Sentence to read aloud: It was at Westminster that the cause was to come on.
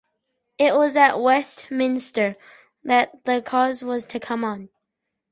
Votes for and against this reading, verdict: 2, 0, accepted